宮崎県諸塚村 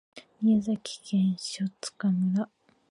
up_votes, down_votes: 0, 2